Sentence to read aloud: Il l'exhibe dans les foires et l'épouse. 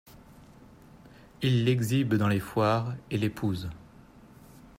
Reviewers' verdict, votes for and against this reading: accepted, 2, 0